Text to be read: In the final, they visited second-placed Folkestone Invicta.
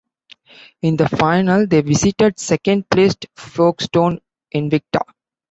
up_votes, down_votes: 2, 0